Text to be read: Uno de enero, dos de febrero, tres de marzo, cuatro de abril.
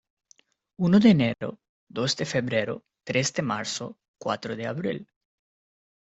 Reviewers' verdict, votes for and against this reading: accepted, 2, 0